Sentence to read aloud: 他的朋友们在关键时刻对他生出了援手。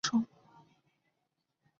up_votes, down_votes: 0, 2